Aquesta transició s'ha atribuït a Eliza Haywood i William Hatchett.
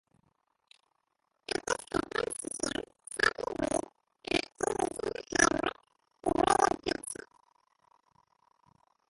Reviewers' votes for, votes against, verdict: 0, 2, rejected